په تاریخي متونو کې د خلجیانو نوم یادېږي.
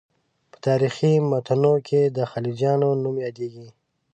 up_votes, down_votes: 0, 2